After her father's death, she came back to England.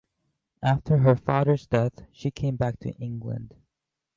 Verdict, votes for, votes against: accepted, 2, 0